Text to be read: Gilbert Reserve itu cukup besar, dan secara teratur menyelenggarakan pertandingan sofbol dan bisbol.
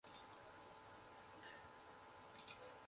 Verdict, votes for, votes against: rejected, 0, 2